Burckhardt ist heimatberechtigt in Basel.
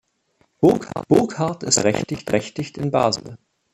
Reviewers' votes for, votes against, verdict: 0, 2, rejected